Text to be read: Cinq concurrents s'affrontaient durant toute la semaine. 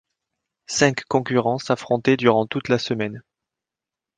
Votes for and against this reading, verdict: 2, 0, accepted